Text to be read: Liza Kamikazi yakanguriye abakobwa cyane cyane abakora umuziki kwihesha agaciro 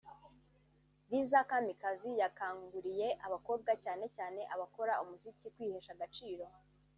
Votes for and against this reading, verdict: 2, 1, accepted